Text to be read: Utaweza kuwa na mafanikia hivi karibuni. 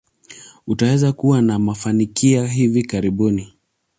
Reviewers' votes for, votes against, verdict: 2, 0, accepted